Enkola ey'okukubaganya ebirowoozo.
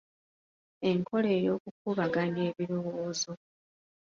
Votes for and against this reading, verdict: 2, 1, accepted